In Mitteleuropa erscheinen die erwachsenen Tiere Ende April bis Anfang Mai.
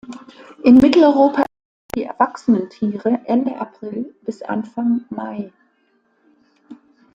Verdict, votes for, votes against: rejected, 0, 2